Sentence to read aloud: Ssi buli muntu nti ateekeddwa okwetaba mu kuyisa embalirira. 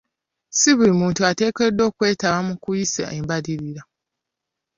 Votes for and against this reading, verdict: 0, 2, rejected